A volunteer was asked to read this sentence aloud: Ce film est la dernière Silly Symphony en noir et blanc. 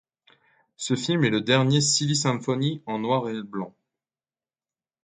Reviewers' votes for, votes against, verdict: 2, 1, accepted